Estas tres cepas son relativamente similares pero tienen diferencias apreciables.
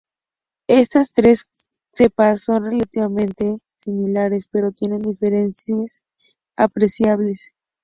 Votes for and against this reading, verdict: 2, 0, accepted